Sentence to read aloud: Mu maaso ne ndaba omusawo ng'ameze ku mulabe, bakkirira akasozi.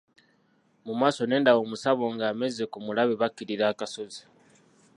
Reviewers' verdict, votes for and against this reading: rejected, 0, 2